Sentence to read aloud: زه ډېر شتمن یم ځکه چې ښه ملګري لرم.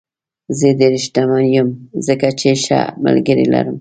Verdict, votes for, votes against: accepted, 2, 0